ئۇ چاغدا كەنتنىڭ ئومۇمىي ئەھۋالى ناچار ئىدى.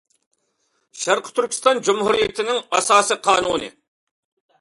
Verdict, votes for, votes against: rejected, 0, 2